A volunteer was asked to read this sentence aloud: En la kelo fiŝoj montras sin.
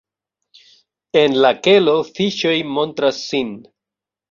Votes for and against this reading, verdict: 2, 1, accepted